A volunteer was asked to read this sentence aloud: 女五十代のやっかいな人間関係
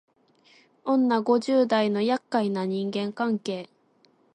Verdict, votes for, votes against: accepted, 2, 1